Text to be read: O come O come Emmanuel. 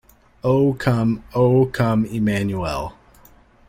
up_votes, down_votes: 2, 0